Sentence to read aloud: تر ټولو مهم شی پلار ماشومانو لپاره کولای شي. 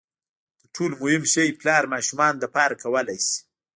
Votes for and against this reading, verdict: 2, 1, accepted